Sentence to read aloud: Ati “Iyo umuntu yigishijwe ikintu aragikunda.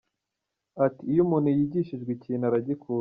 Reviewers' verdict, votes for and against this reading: accepted, 2, 1